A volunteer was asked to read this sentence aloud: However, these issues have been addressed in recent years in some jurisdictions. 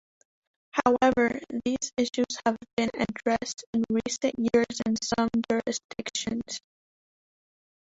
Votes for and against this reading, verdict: 0, 2, rejected